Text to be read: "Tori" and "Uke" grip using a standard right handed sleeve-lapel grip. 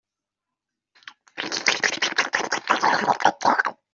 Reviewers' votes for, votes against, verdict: 0, 2, rejected